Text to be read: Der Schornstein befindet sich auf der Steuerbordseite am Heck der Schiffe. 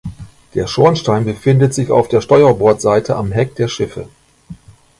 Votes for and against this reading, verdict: 2, 0, accepted